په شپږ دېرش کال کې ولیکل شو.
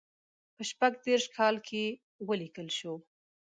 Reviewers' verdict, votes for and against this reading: accepted, 2, 0